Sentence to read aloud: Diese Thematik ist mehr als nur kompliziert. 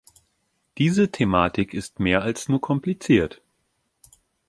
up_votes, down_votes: 2, 0